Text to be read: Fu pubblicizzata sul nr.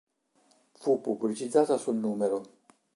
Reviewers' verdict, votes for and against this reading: rejected, 0, 3